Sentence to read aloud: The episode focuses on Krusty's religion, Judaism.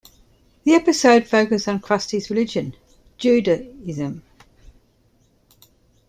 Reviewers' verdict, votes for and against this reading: rejected, 0, 2